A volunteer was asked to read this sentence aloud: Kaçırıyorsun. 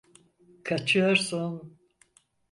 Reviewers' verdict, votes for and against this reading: rejected, 2, 4